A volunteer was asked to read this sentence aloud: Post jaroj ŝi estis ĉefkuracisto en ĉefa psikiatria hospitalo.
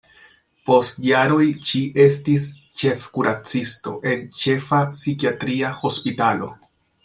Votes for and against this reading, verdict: 2, 0, accepted